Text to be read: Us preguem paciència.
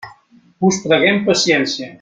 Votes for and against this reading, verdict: 2, 0, accepted